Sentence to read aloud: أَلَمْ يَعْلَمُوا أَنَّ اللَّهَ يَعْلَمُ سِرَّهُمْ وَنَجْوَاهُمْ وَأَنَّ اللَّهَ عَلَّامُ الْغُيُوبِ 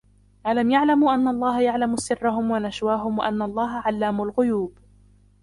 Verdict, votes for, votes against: rejected, 0, 2